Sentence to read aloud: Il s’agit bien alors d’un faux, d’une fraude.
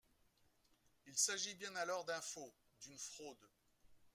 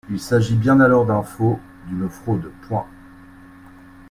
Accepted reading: first